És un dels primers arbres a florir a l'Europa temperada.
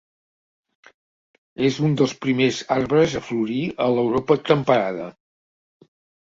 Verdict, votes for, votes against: accepted, 2, 0